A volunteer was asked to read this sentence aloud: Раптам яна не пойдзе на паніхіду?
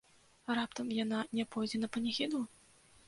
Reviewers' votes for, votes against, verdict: 2, 0, accepted